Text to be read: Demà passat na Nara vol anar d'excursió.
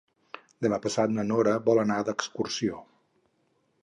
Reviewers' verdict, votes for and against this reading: rejected, 2, 4